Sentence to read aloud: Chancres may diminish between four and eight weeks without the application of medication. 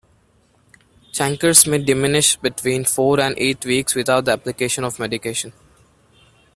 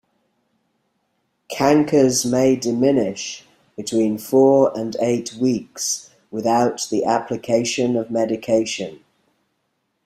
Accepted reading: first